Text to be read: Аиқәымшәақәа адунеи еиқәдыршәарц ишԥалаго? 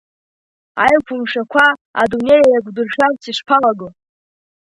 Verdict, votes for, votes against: rejected, 1, 2